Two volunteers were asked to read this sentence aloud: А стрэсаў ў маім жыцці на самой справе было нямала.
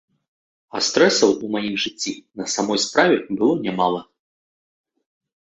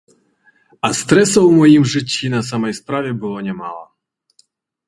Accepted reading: first